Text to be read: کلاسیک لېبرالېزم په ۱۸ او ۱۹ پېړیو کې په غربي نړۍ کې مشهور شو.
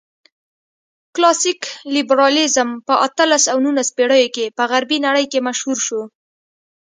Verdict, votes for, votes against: rejected, 0, 2